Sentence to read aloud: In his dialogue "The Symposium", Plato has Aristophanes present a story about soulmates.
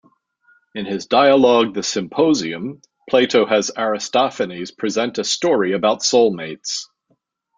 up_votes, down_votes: 2, 1